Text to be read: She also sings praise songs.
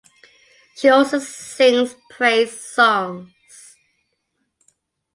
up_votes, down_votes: 2, 0